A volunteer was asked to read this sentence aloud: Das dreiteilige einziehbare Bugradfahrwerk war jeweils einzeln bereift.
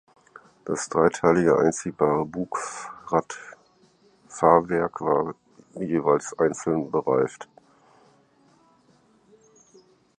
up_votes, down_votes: 0, 4